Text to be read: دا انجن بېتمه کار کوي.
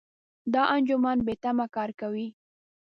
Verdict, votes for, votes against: rejected, 1, 2